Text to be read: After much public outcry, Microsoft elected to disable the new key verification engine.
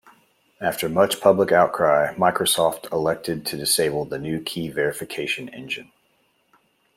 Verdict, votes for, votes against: accepted, 2, 0